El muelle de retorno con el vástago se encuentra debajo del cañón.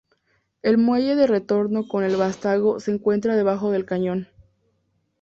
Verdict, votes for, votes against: accepted, 2, 0